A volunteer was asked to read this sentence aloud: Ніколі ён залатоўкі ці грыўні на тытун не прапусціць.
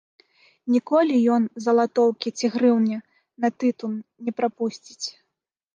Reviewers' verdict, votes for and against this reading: accepted, 2, 0